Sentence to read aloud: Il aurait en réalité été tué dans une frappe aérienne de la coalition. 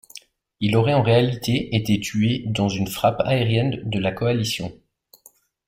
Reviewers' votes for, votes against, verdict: 0, 2, rejected